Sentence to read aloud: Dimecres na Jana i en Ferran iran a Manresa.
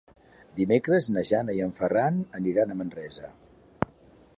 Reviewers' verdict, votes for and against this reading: rejected, 0, 2